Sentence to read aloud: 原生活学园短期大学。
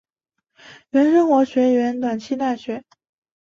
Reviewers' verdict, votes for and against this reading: rejected, 2, 2